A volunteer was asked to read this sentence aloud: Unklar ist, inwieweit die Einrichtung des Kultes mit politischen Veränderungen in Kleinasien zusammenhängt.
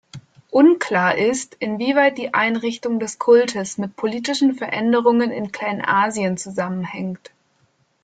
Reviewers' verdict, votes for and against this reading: accepted, 2, 0